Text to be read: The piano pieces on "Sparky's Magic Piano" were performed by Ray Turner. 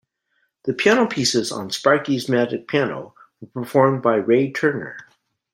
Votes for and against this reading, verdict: 2, 0, accepted